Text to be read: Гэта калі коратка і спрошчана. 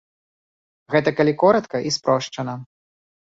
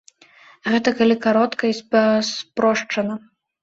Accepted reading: first